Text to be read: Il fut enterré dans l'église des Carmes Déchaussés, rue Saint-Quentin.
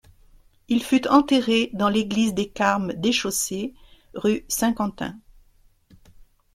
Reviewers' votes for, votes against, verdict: 2, 0, accepted